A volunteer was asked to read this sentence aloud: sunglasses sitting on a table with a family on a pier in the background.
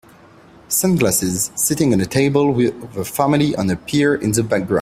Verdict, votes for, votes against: rejected, 0, 2